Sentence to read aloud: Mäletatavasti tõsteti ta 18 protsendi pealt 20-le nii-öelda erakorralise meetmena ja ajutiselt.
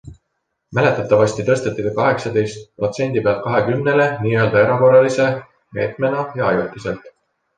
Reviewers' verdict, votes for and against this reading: rejected, 0, 2